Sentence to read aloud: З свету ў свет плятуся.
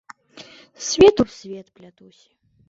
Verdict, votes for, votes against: rejected, 1, 2